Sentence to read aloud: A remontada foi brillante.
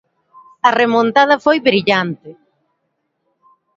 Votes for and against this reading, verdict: 2, 0, accepted